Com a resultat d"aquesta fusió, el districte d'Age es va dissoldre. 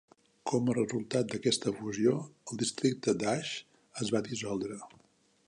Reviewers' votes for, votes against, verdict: 2, 0, accepted